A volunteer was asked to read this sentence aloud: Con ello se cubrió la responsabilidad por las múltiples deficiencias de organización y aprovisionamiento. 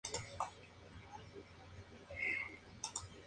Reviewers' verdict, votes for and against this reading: rejected, 0, 2